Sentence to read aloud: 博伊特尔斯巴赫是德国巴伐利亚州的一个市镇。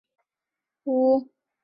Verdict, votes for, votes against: rejected, 0, 2